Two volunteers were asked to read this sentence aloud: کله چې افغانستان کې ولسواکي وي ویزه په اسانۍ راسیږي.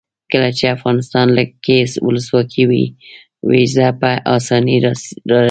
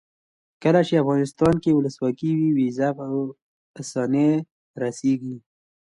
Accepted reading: second